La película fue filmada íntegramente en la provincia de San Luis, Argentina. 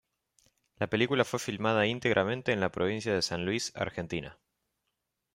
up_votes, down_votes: 2, 0